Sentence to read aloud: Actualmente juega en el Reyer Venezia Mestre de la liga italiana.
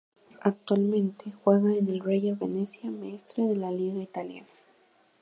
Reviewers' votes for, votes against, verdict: 2, 2, rejected